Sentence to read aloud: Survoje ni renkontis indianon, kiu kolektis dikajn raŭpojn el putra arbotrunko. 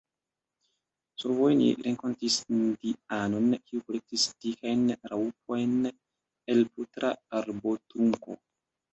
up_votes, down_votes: 2, 0